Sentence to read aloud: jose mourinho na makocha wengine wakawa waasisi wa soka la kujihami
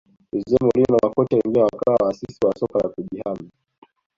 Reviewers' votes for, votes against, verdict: 0, 2, rejected